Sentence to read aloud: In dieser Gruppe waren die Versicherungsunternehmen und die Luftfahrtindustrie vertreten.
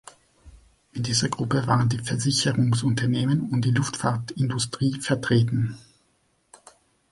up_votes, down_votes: 3, 0